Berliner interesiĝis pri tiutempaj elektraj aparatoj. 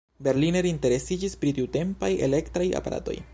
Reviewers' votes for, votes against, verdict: 2, 0, accepted